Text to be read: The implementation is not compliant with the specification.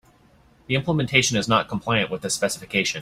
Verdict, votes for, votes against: accepted, 2, 0